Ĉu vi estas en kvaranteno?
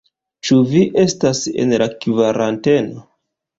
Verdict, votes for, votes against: rejected, 0, 2